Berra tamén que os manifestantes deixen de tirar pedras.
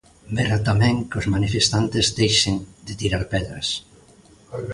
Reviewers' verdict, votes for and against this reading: accepted, 2, 0